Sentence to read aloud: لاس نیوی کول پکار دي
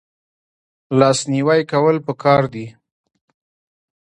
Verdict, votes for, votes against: rejected, 0, 2